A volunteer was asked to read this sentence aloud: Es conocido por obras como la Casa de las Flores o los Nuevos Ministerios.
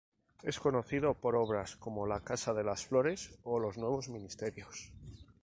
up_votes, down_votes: 2, 0